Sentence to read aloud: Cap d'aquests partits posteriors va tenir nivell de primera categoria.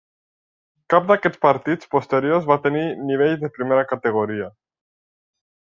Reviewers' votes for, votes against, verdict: 0, 2, rejected